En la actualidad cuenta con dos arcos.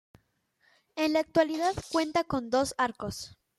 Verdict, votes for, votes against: accepted, 2, 0